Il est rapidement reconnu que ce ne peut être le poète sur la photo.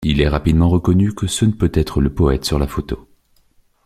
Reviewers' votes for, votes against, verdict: 0, 2, rejected